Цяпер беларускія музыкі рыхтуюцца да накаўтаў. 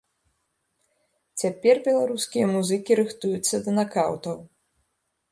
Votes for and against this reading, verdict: 2, 1, accepted